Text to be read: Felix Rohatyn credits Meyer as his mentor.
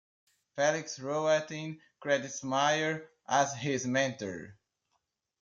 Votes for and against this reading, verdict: 2, 1, accepted